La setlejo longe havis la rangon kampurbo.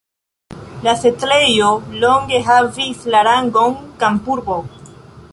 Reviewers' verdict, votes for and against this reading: accepted, 2, 1